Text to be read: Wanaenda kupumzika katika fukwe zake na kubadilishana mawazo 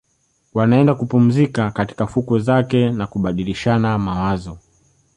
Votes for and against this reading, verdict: 3, 0, accepted